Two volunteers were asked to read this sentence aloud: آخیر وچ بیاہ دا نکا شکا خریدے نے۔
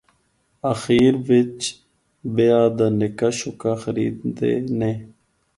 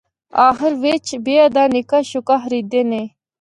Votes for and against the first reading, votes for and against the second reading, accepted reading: 4, 0, 1, 2, first